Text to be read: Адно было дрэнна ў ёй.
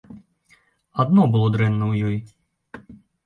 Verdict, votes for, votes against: accepted, 2, 0